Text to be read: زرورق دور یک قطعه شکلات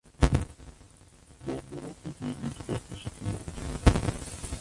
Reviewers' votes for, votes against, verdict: 0, 2, rejected